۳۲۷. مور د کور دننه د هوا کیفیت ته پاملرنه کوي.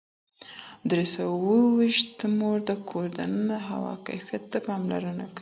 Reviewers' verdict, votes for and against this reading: rejected, 0, 2